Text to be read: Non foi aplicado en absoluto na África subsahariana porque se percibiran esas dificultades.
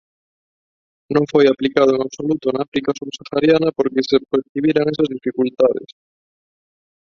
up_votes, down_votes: 0, 2